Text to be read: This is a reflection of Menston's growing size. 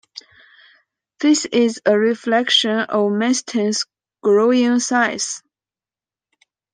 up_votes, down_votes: 1, 2